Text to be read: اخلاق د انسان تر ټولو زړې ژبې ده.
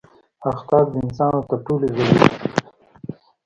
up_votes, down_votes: 1, 2